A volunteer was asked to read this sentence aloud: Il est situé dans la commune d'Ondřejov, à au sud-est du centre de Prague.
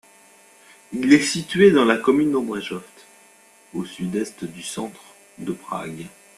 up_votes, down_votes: 1, 2